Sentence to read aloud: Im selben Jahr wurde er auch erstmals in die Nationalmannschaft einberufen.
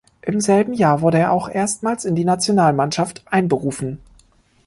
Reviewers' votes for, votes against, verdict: 2, 0, accepted